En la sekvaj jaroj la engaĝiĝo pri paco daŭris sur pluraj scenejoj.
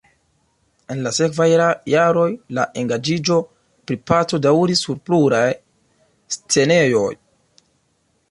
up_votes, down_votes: 0, 2